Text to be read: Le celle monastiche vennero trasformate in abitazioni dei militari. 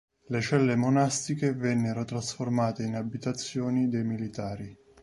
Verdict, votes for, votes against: accepted, 2, 0